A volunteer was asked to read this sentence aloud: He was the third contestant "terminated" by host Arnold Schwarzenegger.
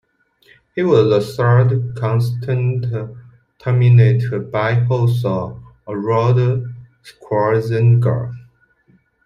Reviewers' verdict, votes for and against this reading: rejected, 1, 2